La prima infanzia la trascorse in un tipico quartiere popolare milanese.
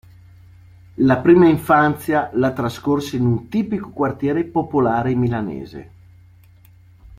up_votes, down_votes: 1, 2